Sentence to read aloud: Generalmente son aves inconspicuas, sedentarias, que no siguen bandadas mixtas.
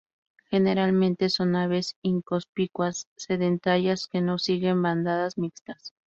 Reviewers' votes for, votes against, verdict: 2, 0, accepted